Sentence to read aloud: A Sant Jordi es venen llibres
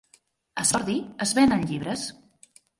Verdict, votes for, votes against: rejected, 1, 2